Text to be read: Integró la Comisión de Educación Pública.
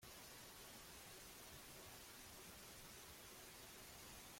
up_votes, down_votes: 0, 2